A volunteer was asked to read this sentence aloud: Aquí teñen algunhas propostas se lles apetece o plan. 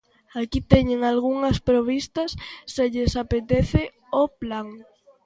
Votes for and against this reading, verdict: 1, 2, rejected